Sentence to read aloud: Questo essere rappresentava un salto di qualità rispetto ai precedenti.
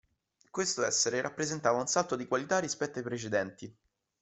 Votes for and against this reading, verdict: 2, 0, accepted